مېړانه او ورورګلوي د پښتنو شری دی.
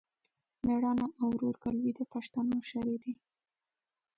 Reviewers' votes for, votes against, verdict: 2, 1, accepted